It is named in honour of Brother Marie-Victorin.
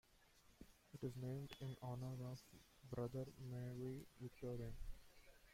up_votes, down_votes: 0, 2